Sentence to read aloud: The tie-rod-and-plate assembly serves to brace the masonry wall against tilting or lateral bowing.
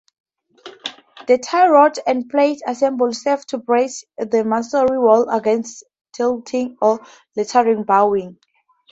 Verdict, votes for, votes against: accepted, 4, 0